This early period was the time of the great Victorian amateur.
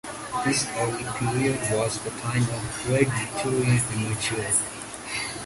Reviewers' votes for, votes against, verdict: 1, 2, rejected